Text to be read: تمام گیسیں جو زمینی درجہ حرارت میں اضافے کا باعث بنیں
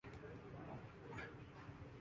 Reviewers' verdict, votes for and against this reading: rejected, 1, 4